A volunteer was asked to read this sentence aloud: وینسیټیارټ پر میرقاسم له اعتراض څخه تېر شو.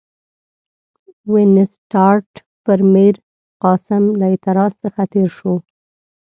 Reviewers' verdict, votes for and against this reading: accepted, 2, 0